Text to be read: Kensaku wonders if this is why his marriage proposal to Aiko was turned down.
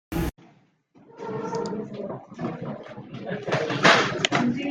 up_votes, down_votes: 0, 2